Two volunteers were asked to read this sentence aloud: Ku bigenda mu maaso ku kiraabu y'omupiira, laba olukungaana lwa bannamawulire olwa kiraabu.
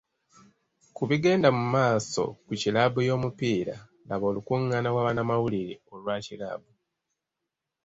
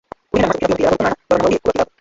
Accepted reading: first